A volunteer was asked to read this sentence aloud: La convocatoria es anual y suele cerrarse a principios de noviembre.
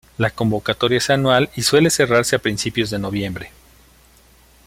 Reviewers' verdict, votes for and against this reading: accepted, 2, 0